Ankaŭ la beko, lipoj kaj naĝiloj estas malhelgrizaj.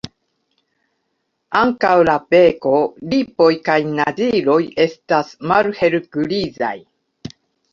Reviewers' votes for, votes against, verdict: 2, 1, accepted